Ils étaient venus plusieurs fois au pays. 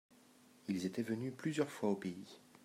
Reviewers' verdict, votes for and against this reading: accepted, 2, 0